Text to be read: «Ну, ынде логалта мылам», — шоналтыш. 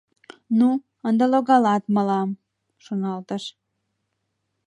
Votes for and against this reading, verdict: 0, 2, rejected